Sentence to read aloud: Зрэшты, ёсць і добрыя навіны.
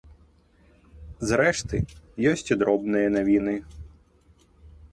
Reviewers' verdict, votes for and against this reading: rejected, 0, 2